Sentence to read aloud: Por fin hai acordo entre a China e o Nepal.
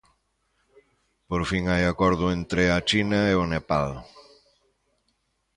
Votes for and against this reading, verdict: 2, 0, accepted